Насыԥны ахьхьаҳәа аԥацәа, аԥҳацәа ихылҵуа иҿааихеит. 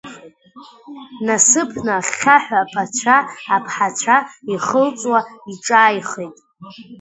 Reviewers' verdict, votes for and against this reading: accepted, 2, 0